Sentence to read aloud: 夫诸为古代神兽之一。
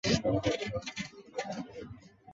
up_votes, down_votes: 0, 2